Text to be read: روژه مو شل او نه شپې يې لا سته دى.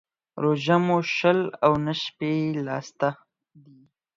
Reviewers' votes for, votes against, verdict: 0, 4, rejected